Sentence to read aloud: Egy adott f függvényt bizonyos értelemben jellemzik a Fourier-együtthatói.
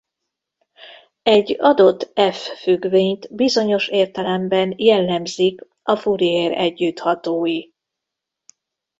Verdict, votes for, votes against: rejected, 1, 2